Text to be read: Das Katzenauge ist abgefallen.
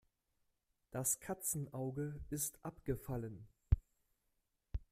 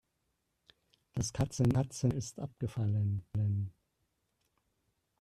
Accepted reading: first